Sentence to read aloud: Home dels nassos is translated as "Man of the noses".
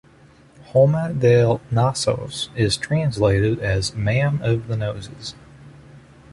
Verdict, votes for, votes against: rejected, 1, 2